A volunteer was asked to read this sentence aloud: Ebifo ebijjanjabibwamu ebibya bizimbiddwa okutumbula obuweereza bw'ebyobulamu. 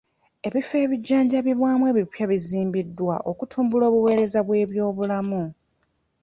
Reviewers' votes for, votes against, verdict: 1, 2, rejected